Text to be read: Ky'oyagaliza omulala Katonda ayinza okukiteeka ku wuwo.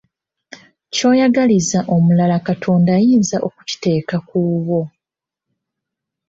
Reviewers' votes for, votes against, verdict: 1, 2, rejected